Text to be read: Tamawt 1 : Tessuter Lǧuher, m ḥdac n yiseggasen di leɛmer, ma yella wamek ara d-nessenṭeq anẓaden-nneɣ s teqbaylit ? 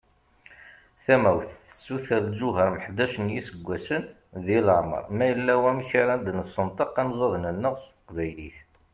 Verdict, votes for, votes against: rejected, 0, 2